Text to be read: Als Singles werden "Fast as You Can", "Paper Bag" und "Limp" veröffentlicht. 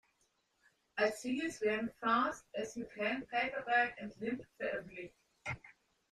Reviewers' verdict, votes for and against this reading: accepted, 2, 1